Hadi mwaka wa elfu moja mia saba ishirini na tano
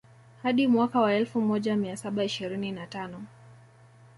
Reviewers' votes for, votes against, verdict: 0, 2, rejected